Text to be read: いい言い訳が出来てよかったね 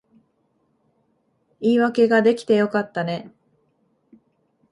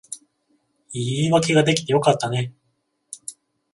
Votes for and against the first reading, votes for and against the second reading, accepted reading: 0, 2, 14, 0, second